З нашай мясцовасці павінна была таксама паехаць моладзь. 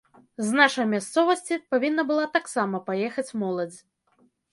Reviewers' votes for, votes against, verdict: 2, 0, accepted